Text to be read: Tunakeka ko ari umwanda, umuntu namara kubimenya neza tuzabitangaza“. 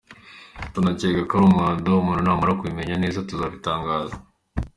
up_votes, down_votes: 2, 0